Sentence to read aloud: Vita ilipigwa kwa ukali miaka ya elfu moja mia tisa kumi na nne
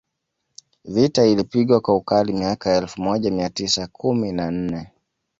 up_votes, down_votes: 2, 0